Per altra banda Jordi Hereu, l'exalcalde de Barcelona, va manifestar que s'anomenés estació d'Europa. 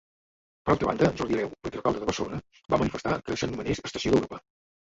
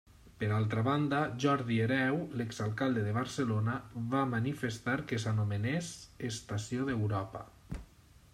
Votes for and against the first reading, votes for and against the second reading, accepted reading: 0, 3, 2, 0, second